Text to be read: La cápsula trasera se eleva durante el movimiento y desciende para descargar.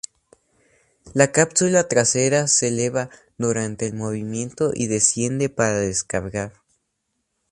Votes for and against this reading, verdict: 2, 0, accepted